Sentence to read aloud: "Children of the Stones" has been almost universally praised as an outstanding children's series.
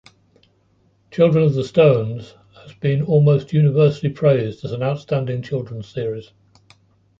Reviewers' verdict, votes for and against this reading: rejected, 0, 2